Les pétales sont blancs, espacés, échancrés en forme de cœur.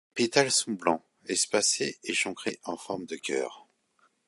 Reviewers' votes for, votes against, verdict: 0, 2, rejected